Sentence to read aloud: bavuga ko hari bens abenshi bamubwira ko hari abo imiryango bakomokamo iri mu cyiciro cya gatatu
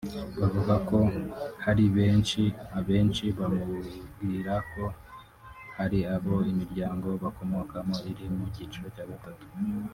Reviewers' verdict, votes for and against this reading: rejected, 3, 4